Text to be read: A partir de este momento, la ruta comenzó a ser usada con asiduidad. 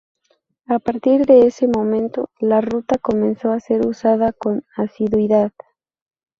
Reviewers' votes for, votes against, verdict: 0, 2, rejected